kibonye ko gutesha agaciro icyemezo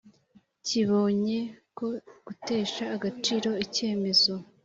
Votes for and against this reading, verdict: 2, 0, accepted